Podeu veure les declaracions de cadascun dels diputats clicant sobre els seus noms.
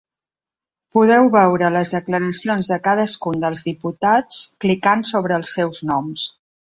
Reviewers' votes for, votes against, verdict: 3, 0, accepted